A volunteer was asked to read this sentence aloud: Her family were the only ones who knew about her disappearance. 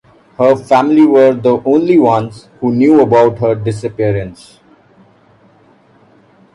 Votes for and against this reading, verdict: 2, 0, accepted